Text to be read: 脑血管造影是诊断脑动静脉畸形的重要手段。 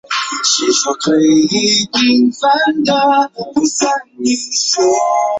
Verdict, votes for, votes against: rejected, 0, 2